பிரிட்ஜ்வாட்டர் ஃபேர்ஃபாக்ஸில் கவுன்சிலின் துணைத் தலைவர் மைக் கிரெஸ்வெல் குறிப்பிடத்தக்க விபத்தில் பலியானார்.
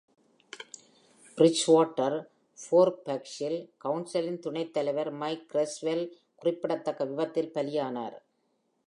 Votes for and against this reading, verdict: 2, 0, accepted